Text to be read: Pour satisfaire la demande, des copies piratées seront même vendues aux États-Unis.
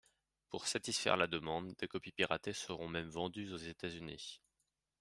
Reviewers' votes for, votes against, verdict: 2, 0, accepted